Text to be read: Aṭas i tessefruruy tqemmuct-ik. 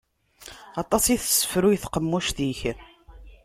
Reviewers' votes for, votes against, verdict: 0, 2, rejected